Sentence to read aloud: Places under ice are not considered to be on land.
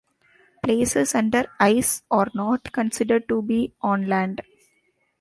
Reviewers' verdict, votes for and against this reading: accepted, 2, 0